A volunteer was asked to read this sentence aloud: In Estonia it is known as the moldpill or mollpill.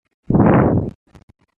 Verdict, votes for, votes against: rejected, 0, 2